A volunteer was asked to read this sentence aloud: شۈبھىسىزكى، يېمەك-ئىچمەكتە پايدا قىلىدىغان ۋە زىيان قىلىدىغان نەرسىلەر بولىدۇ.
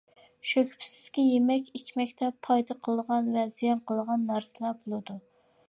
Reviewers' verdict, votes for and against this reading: rejected, 0, 2